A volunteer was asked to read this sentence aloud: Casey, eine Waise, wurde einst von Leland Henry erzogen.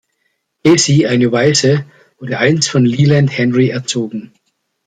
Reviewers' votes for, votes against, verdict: 1, 2, rejected